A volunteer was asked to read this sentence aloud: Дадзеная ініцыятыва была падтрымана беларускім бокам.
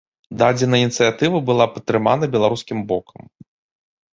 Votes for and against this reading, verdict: 1, 2, rejected